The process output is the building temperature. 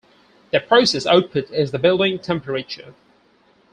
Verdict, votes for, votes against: rejected, 2, 4